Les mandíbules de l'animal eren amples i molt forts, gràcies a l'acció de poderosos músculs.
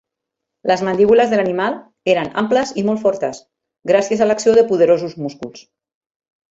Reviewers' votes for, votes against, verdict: 0, 2, rejected